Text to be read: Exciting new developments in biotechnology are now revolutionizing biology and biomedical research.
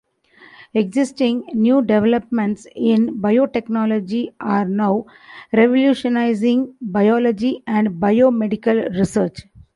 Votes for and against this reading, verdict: 0, 2, rejected